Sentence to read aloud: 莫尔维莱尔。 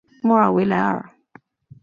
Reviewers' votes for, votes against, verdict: 2, 0, accepted